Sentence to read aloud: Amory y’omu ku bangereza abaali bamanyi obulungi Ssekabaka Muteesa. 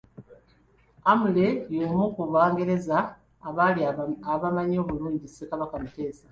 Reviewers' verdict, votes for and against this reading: accepted, 2, 0